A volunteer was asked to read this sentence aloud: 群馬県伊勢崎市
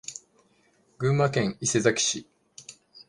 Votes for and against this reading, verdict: 1, 2, rejected